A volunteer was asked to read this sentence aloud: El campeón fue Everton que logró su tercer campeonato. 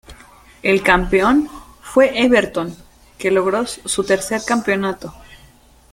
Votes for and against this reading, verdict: 2, 1, accepted